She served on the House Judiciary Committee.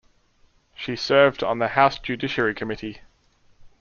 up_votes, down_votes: 2, 0